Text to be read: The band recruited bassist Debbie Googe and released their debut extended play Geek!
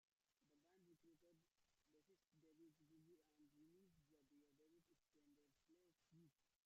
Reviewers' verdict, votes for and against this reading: rejected, 1, 2